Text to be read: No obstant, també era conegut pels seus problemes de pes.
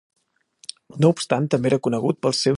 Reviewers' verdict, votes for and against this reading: rejected, 0, 2